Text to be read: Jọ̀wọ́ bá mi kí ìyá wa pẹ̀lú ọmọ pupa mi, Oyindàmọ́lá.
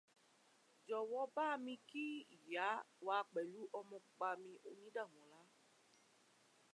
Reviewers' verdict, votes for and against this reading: accepted, 2, 0